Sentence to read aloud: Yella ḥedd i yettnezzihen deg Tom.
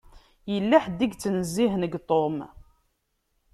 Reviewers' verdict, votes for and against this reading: accepted, 2, 0